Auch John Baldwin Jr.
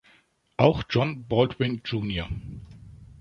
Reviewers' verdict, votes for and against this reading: accepted, 2, 0